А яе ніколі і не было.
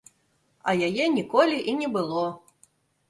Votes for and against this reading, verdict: 2, 0, accepted